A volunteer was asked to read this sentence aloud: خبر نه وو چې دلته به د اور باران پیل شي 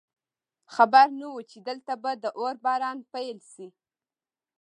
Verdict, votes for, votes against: accepted, 2, 0